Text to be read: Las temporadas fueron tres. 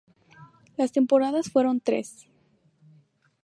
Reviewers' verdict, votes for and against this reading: accepted, 2, 0